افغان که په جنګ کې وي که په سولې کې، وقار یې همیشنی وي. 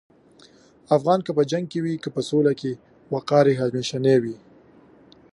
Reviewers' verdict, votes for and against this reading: accepted, 2, 0